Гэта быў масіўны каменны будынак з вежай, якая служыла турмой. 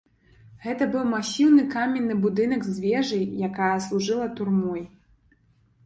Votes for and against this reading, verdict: 2, 1, accepted